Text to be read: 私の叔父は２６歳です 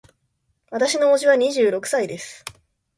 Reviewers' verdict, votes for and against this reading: rejected, 0, 2